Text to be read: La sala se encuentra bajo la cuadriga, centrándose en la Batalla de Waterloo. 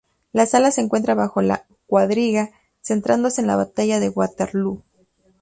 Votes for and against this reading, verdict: 2, 0, accepted